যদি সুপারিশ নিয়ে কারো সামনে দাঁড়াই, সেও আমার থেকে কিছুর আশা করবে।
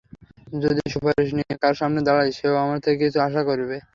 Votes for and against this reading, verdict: 0, 3, rejected